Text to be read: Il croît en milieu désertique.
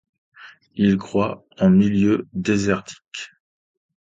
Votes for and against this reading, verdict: 2, 0, accepted